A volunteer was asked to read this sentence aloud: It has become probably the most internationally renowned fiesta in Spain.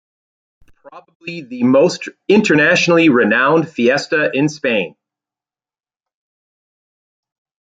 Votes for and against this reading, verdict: 0, 2, rejected